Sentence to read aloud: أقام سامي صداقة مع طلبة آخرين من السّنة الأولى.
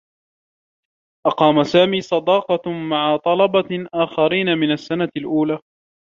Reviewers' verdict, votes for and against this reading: rejected, 1, 2